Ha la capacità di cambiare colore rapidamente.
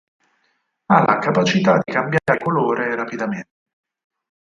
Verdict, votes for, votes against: accepted, 4, 0